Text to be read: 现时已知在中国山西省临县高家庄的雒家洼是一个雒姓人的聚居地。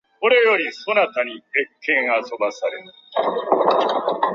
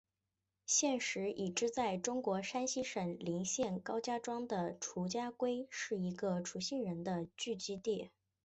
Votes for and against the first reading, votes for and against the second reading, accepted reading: 1, 7, 2, 0, second